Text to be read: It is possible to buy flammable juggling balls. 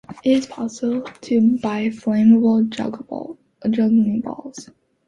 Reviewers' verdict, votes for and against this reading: rejected, 0, 2